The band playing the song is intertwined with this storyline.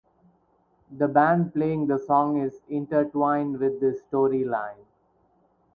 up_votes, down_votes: 2, 4